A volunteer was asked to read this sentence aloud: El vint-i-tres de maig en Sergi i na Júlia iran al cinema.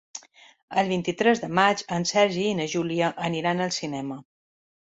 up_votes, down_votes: 0, 2